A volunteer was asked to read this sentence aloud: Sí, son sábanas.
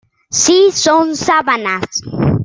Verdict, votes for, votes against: accepted, 2, 1